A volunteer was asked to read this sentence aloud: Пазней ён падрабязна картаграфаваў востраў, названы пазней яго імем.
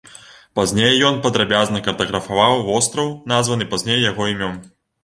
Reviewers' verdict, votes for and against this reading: rejected, 0, 2